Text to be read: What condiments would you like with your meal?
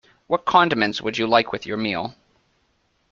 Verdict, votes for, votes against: accepted, 3, 0